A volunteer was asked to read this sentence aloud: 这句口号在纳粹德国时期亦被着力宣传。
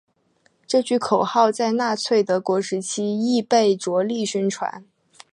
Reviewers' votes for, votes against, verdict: 5, 0, accepted